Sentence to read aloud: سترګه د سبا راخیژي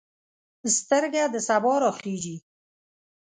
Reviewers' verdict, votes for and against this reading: accepted, 2, 1